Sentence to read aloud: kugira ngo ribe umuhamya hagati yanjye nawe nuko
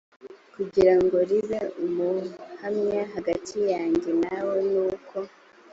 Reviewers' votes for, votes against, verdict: 2, 1, accepted